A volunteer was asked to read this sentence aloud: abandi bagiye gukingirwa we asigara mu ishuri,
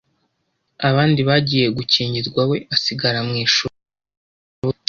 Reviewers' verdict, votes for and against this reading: rejected, 0, 2